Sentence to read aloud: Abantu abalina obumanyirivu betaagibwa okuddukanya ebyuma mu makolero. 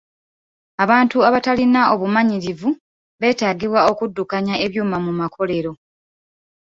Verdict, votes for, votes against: rejected, 0, 2